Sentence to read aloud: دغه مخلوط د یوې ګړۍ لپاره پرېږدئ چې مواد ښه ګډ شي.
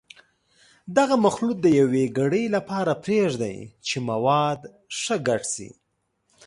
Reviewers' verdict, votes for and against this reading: accepted, 2, 0